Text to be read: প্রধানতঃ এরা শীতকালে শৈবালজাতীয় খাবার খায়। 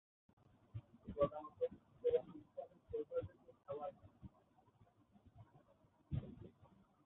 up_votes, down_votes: 0, 2